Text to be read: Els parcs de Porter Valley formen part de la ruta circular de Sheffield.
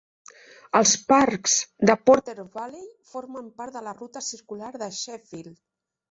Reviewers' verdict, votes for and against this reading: accepted, 3, 0